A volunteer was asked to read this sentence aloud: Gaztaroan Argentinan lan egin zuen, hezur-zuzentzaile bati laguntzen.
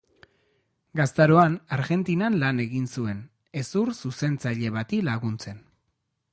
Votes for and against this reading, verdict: 3, 0, accepted